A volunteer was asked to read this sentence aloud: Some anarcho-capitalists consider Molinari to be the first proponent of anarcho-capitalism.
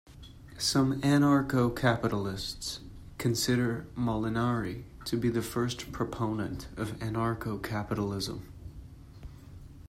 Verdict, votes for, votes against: accepted, 2, 0